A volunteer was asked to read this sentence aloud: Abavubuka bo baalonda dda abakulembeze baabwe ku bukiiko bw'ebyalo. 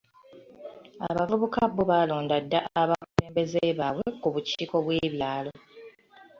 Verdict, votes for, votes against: accepted, 2, 0